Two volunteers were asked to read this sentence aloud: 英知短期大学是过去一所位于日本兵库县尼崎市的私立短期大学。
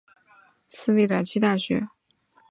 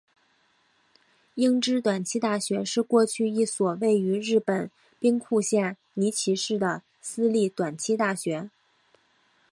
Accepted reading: second